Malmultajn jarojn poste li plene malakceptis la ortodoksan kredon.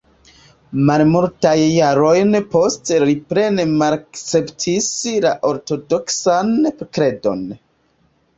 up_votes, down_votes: 1, 3